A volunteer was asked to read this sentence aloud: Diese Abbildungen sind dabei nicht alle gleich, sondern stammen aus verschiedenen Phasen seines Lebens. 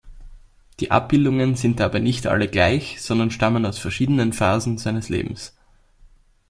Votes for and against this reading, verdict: 1, 2, rejected